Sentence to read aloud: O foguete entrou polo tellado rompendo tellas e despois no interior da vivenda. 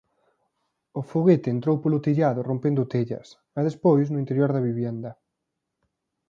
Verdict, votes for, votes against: rejected, 1, 2